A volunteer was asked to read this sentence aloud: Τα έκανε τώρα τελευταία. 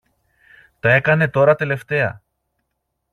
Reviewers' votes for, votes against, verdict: 2, 0, accepted